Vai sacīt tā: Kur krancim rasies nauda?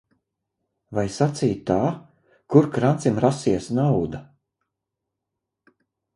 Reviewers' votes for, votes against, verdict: 0, 2, rejected